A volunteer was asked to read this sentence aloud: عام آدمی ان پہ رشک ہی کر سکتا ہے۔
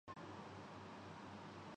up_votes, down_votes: 0, 2